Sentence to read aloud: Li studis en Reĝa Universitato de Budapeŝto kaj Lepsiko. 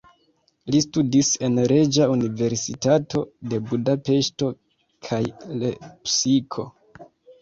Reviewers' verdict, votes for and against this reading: rejected, 0, 2